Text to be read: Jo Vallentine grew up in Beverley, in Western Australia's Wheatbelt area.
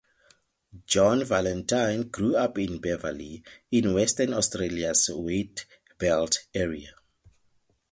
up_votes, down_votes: 4, 0